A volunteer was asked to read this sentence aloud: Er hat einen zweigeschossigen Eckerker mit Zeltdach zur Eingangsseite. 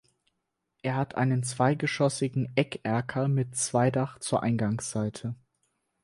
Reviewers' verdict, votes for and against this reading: rejected, 0, 4